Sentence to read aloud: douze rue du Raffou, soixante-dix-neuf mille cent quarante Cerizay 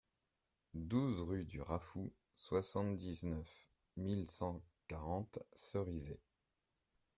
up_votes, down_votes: 2, 0